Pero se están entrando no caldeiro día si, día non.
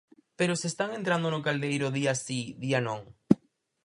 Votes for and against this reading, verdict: 4, 0, accepted